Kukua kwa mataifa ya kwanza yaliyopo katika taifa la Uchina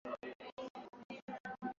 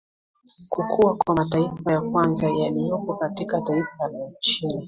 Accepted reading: second